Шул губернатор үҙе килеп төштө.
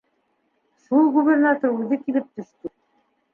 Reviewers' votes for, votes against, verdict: 2, 1, accepted